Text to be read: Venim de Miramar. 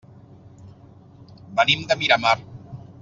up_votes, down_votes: 3, 0